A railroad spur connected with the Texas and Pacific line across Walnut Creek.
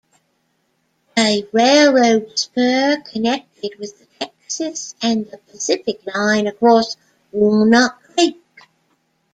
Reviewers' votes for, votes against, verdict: 1, 2, rejected